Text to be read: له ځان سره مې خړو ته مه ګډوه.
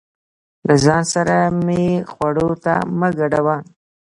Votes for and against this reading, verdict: 0, 2, rejected